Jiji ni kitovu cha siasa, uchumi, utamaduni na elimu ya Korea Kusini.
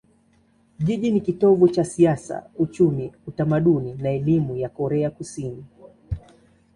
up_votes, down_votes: 2, 0